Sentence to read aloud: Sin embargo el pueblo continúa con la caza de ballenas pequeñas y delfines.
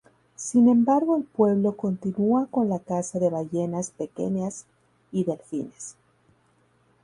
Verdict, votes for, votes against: accepted, 2, 0